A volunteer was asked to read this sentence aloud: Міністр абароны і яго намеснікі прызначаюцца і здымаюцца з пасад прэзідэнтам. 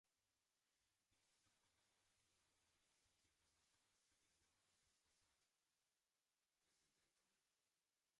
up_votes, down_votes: 0, 3